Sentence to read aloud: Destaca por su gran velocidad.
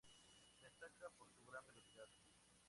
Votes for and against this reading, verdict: 0, 2, rejected